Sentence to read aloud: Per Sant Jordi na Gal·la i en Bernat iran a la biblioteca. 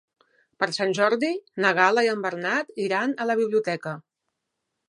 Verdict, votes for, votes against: accepted, 3, 0